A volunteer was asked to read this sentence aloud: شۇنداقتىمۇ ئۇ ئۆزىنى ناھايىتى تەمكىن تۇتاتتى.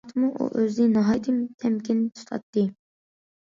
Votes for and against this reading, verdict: 0, 2, rejected